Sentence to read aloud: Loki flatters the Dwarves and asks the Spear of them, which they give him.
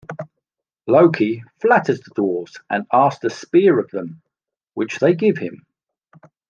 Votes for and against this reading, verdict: 2, 0, accepted